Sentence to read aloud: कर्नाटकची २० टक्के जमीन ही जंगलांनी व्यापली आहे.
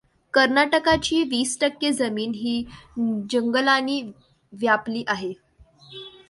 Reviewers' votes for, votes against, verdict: 0, 2, rejected